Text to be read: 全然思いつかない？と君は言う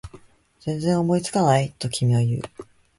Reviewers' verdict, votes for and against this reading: accepted, 2, 0